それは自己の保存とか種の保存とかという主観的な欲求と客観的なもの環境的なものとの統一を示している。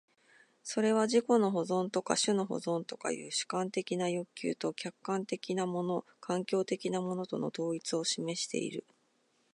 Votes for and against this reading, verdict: 2, 0, accepted